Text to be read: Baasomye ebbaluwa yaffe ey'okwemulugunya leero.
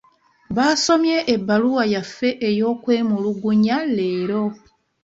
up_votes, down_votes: 2, 0